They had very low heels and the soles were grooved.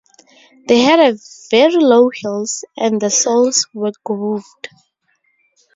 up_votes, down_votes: 2, 4